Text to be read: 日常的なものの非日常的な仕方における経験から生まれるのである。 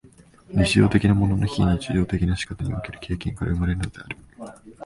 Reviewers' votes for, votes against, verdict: 1, 2, rejected